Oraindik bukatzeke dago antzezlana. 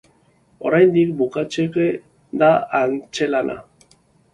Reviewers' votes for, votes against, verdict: 0, 2, rejected